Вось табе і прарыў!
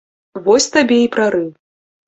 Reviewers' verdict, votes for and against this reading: rejected, 1, 2